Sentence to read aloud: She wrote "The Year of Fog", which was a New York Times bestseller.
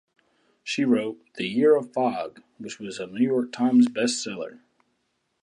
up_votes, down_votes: 2, 0